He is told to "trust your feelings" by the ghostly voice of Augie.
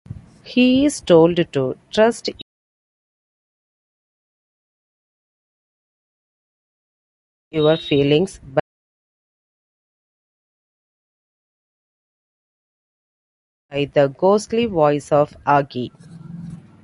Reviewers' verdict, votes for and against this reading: rejected, 0, 2